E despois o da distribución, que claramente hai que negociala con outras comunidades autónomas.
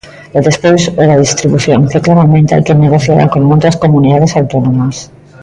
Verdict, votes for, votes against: accepted, 2, 0